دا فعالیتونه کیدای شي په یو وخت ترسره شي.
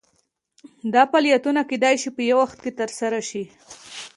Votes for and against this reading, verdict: 2, 0, accepted